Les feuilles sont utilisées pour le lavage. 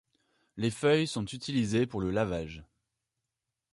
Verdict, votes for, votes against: accepted, 2, 0